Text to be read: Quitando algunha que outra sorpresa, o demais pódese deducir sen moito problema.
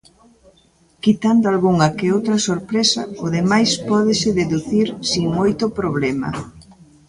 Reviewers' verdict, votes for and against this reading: rejected, 1, 2